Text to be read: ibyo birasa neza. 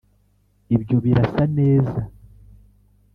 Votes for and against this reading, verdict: 2, 1, accepted